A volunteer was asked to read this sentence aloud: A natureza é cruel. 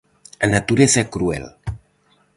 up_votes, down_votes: 4, 0